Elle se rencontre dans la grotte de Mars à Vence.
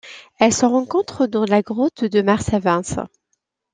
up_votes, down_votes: 2, 0